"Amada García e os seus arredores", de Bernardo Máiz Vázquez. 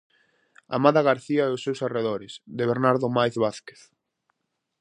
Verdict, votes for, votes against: accepted, 4, 0